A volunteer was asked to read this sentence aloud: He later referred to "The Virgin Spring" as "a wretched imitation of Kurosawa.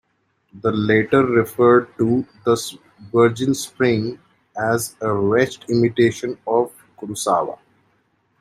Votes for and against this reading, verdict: 0, 2, rejected